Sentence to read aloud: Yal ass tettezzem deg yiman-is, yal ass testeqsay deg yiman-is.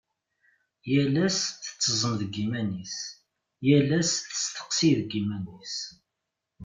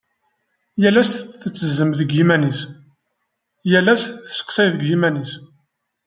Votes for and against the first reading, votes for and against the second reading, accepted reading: 1, 2, 2, 0, second